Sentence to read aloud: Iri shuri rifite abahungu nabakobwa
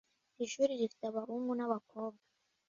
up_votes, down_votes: 2, 0